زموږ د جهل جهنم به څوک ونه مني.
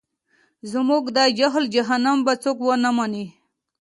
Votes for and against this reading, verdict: 2, 1, accepted